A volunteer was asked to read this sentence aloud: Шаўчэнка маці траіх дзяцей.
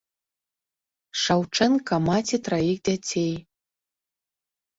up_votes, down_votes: 3, 0